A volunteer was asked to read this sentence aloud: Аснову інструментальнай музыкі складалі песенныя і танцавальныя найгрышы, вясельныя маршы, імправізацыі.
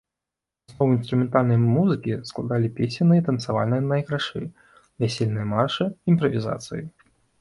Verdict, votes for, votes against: rejected, 1, 2